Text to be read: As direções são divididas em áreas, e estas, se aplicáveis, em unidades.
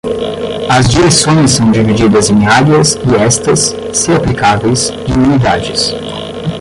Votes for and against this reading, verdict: 0, 20, rejected